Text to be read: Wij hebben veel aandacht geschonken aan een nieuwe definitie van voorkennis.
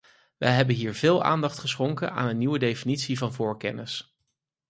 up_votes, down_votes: 0, 4